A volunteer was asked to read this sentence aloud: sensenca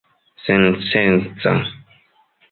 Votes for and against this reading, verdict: 2, 0, accepted